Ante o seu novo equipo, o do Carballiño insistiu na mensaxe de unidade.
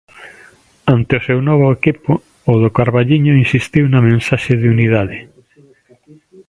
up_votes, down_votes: 2, 0